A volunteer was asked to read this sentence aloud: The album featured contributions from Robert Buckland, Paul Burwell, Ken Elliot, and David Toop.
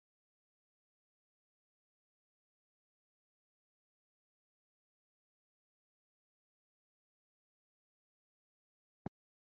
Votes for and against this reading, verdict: 0, 2, rejected